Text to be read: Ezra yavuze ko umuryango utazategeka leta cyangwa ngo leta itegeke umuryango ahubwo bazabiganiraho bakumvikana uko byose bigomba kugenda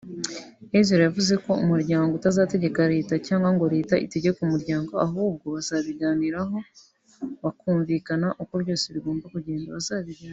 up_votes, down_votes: 2, 1